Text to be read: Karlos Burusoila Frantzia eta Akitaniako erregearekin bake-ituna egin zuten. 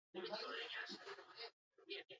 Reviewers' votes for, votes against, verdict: 2, 0, accepted